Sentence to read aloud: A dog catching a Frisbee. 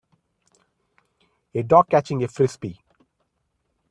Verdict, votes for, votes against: accepted, 2, 0